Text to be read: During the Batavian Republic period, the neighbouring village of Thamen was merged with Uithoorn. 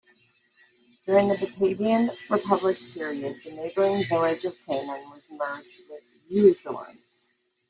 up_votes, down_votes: 1, 2